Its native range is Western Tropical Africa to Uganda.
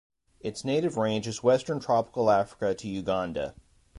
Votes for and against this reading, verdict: 2, 0, accepted